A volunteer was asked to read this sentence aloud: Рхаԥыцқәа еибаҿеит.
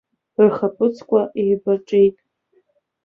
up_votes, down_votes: 2, 3